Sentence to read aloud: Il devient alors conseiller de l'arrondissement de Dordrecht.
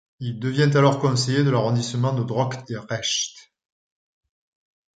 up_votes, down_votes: 1, 2